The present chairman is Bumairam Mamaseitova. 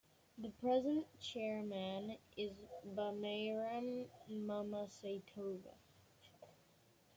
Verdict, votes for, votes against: accepted, 2, 0